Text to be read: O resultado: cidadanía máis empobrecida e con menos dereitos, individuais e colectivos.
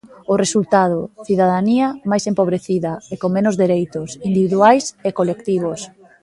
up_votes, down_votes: 1, 2